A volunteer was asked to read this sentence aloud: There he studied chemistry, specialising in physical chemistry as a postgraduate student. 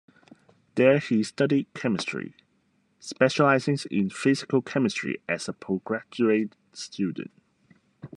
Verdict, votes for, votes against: rejected, 1, 2